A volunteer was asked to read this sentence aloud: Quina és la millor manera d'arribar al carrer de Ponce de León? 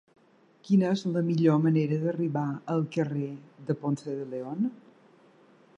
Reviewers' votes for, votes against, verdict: 2, 0, accepted